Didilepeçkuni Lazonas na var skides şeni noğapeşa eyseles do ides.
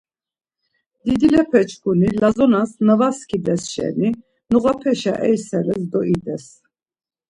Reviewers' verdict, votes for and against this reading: accepted, 2, 0